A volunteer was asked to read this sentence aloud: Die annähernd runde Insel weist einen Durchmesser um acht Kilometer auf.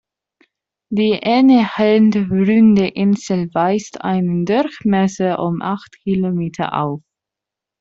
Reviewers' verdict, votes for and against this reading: rejected, 1, 2